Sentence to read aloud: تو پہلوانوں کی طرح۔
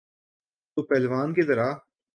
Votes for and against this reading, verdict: 1, 2, rejected